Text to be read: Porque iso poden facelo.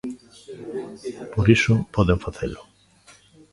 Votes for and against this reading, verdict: 0, 2, rejected